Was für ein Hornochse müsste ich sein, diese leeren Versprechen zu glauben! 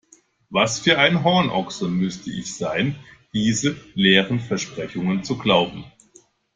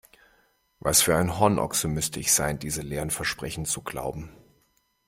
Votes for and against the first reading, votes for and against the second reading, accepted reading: 1, 2, 2, 0, second